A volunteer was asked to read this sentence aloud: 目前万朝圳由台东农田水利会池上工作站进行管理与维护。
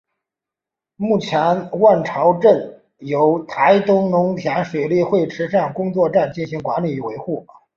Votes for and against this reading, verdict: 3, 0, accepted